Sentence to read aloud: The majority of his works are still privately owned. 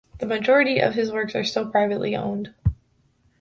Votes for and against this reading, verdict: 2, 0, accepted